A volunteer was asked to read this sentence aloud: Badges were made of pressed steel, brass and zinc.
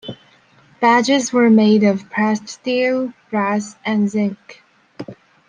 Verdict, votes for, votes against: accepted, 2, 0